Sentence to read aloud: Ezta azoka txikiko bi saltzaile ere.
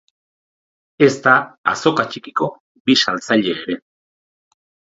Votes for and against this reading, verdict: 2, 2, rejected